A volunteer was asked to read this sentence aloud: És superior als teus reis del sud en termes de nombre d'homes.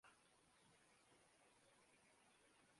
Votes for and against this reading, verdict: 0, 2, rejected